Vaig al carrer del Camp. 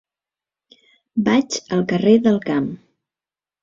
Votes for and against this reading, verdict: 3, 0, accepted